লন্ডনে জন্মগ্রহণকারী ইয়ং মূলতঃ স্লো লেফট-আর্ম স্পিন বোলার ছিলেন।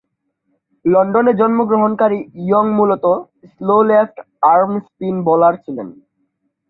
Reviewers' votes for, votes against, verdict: 2, 0, accepted